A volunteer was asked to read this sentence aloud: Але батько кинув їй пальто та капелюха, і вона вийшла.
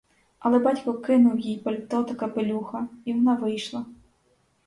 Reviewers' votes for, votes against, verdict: 4, 0, accepted